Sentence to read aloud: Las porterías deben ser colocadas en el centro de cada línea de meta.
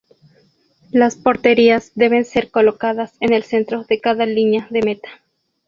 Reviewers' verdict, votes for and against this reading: accepted, 2, 0